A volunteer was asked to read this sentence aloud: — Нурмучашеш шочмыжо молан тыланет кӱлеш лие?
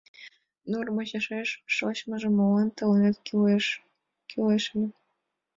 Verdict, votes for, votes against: rejected, 0, 2